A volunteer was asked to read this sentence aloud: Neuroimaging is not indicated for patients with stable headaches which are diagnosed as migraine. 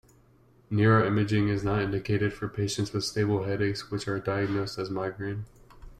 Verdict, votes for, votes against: accepted, 2, 0